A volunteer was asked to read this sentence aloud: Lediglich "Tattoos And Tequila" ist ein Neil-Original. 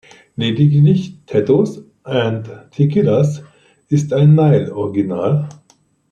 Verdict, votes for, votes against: rejected, 0, 2